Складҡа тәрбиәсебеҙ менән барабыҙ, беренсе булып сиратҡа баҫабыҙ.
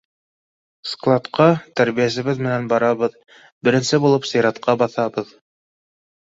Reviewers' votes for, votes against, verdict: 2, 0, accepted